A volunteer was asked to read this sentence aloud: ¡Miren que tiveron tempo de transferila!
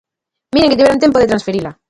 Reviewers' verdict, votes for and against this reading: rejected, 0, 2